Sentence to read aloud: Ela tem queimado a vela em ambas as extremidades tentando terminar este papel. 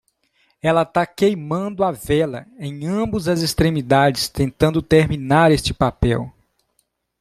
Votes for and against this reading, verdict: 1, 2, rejected